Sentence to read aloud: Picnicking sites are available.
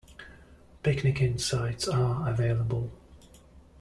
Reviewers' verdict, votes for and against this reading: accepted, 2, 0